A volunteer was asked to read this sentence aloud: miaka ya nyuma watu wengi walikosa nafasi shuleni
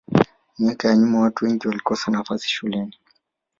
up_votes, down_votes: 5, 0